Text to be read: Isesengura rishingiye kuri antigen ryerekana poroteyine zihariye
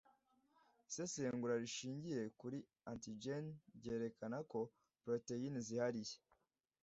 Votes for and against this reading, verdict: 2, 0, accepted